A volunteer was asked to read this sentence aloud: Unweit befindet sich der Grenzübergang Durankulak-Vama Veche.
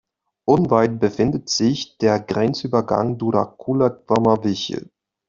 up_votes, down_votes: 2, 0